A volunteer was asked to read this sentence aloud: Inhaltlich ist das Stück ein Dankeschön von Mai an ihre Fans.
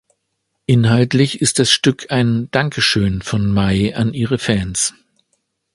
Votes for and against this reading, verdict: 2, 0, accepted